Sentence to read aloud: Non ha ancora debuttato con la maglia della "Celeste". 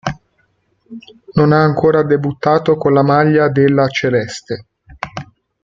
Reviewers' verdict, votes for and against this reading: accepted, 2, 0